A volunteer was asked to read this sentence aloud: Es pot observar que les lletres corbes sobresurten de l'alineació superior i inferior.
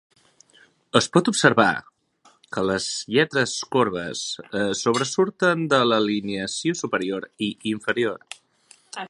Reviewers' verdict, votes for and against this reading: accepted, 2, 0